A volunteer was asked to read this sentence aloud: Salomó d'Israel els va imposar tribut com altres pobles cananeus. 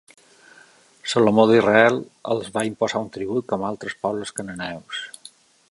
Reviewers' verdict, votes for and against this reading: accepted, 2, 0